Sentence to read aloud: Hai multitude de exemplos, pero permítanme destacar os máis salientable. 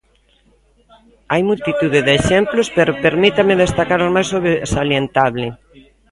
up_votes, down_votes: 0, 2